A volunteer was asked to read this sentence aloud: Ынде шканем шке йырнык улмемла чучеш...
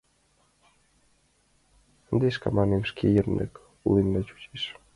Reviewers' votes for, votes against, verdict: 1, 2, rejected